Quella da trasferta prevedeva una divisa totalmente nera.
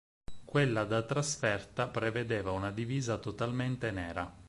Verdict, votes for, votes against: accepted, 4, 0